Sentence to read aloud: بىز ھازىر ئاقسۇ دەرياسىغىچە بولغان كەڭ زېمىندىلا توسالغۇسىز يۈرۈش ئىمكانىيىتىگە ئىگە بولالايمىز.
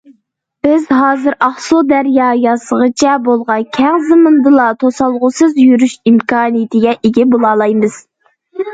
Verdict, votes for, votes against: rejected, 0, 2